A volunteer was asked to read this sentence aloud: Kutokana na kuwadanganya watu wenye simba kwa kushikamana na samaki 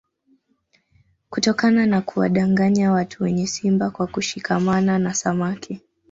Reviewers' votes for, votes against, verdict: 2, 0, accepted